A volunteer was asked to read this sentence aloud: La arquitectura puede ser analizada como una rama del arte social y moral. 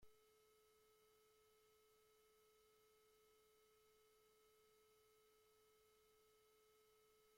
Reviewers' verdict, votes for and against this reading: rejected, 0, 2